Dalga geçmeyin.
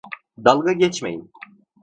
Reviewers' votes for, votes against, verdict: 2, 0, accepted